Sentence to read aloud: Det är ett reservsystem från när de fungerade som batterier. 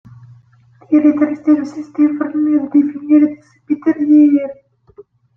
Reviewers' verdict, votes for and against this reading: rejected, 0, 2